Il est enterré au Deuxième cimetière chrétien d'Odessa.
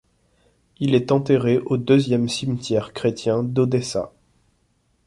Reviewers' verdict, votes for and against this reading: accepted, 2, 0